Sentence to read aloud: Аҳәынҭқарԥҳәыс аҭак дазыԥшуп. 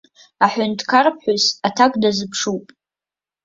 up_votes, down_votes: 2, 0